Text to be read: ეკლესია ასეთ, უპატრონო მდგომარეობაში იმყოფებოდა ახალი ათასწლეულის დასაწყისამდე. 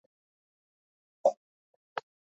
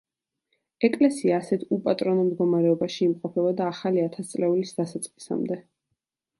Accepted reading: second